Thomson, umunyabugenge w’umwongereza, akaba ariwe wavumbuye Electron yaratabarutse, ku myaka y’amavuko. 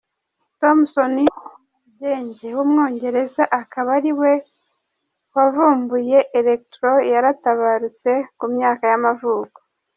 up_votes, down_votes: 0, 2